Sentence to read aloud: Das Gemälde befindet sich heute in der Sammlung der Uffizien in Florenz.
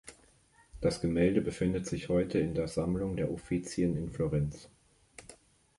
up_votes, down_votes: 1, 2